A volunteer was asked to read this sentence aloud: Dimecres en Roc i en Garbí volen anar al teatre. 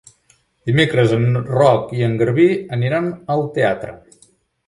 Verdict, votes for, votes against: rejected, 1, 3